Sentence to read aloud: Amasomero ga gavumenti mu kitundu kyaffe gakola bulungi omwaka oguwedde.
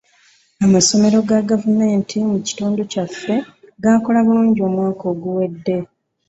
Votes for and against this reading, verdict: 2, 0, accepted